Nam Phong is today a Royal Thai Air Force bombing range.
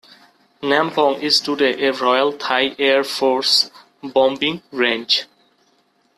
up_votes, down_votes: 0, 2